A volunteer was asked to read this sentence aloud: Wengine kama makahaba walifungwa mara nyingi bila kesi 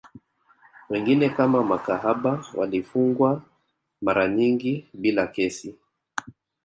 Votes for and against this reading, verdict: 1, 3, rejected